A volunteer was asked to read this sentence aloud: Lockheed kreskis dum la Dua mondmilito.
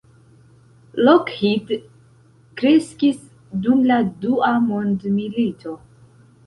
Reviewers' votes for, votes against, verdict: 2, 0, accepted